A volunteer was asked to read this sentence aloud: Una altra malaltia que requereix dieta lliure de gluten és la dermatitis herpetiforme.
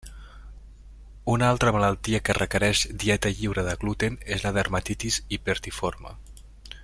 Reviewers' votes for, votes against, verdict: 0, 2, rejected